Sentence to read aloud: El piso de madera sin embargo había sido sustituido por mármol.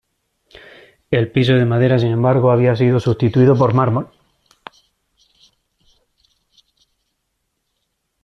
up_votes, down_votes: 2, 0